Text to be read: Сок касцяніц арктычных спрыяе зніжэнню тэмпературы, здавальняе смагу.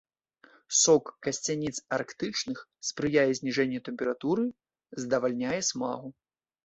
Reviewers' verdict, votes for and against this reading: accepted, 2, 0